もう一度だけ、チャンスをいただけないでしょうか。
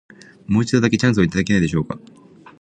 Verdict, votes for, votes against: accepted, 2, 0